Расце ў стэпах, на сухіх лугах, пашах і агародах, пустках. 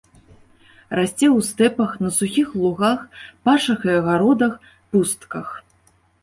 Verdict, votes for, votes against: accepted, 2, 0